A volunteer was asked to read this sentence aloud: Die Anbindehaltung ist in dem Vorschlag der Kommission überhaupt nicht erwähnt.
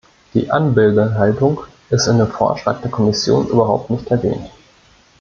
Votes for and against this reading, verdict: 1, 2, rejected